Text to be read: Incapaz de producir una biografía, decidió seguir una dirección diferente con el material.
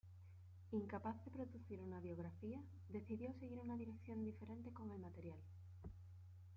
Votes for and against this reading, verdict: 0, 2, rejected